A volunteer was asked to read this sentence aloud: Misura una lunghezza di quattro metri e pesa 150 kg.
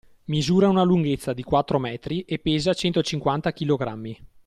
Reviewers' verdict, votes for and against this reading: rejected, 0, 2